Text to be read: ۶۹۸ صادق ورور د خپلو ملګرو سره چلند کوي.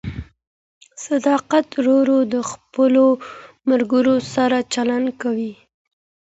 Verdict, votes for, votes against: rejected, 0, 2